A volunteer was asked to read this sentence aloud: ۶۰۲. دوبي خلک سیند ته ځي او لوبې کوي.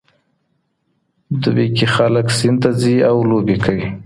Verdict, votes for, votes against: rejected, 0, 2